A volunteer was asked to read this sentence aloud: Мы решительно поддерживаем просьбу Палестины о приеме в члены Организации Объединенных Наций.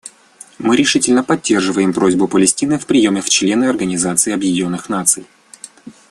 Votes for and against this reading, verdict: 1, 2, rejected